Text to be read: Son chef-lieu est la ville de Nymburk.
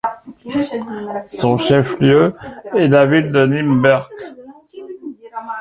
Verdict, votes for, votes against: rejected, 0, 2